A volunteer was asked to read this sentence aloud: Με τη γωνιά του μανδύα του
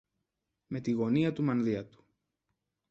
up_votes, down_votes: 0, 2